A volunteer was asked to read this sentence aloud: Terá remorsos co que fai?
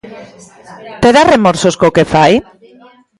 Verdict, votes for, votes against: accepted, 2, 0